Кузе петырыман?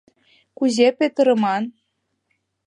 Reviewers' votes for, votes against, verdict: 2, 0, accepted